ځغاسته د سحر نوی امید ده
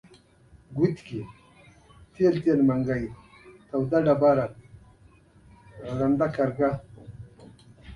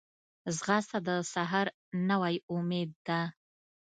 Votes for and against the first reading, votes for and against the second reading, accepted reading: 1, 2, 2, 0, second